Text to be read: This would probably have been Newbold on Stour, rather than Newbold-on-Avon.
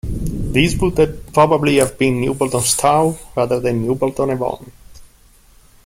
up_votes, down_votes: 0, 2